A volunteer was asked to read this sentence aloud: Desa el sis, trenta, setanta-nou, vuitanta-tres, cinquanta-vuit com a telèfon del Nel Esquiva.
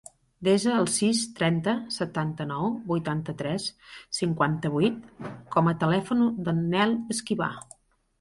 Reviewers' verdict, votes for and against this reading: rejected, 0, 2